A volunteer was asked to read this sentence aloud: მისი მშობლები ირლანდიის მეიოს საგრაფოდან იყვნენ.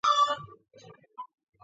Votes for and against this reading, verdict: 1, 2, rejected